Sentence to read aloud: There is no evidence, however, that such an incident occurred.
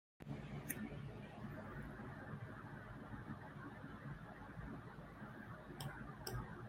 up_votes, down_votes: 0, 2